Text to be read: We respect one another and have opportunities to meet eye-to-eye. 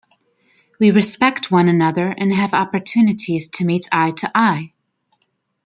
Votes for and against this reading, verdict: 2, 0, accepted